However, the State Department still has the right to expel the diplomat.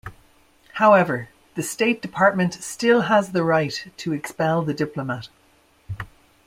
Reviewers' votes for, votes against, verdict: 2, 0, accepted